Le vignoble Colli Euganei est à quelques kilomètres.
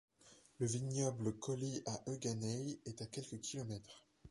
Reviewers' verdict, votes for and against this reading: rejected, 1, 2